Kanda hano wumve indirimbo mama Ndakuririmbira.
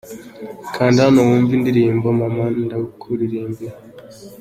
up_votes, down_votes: 2, 0